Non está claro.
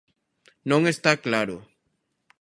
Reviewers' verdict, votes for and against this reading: accepted, 2, 0